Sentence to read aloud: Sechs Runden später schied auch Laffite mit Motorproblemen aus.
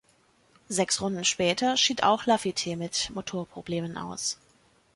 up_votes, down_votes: 4, 0